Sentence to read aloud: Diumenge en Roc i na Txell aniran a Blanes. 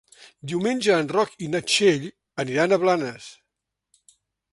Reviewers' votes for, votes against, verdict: 3, 0, accepted